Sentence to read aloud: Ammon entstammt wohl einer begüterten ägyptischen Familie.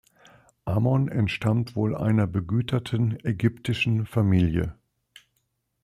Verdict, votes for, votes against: accepted, 2, 0